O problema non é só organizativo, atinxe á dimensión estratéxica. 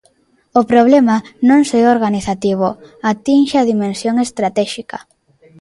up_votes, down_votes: 0, 3